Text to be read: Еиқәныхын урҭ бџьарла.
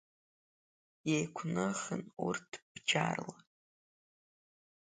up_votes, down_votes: 2, 0